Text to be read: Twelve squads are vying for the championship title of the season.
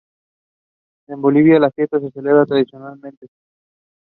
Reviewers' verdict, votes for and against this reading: rejected, 1, 2